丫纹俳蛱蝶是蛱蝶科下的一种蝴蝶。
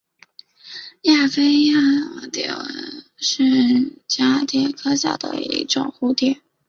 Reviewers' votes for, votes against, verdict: 0, 2, rejected